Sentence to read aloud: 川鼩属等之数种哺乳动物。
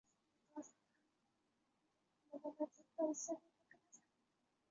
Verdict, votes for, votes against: rejected, 1, 3